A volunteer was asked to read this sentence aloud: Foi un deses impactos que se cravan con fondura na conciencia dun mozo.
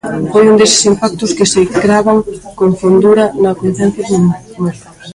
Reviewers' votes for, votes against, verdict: 1, 2, rejected